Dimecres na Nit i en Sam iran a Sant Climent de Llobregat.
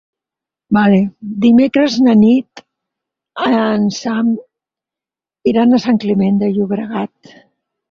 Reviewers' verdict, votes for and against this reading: rejected, 2, 4